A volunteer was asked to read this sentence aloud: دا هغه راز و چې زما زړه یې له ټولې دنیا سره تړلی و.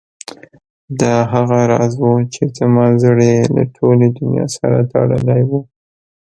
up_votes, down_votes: 1, 2